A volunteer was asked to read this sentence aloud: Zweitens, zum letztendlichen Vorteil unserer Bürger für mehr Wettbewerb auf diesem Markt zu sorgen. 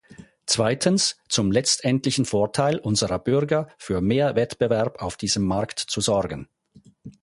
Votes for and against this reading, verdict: 4, 0, accepted